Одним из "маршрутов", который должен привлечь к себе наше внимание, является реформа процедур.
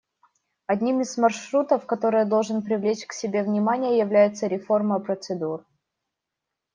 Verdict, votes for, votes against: rejected, 0, 2